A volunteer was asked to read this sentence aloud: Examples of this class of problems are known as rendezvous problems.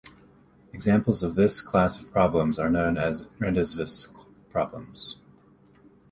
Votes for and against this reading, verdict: 0, 2, rejected